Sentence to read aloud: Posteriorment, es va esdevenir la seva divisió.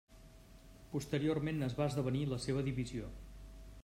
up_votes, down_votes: 3, 0